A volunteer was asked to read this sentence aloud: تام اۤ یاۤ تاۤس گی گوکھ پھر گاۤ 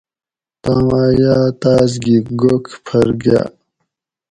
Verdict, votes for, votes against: accepted, 2, 0